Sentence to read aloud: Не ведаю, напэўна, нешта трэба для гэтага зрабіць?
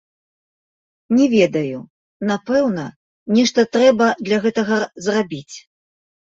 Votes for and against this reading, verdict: 2, 0, accepted